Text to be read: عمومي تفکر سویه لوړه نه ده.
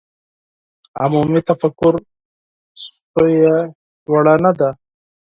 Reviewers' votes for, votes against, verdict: 2, 4, rejected